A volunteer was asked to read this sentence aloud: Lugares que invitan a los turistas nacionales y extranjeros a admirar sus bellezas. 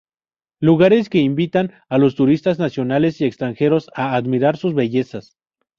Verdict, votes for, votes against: rejected, 0, 2